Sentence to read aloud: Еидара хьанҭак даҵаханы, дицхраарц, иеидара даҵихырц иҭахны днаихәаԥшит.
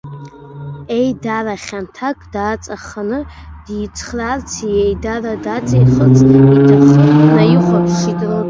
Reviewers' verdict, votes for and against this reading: rejected, 1, 2